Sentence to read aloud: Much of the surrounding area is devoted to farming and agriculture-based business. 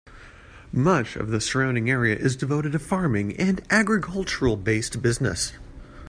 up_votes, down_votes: 1, 2